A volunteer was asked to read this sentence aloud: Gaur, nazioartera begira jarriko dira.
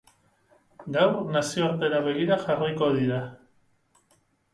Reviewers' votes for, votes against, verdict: 0, 2, rejected